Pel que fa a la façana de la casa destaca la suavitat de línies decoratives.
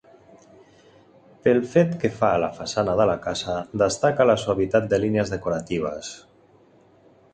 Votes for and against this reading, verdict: 1, 2, rejected